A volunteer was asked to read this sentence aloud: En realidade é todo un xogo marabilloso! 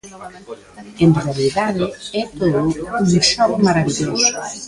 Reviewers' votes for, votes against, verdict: 0, 2, rejected